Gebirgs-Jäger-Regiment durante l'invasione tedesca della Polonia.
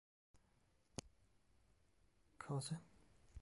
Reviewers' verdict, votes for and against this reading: rejected, 0, 2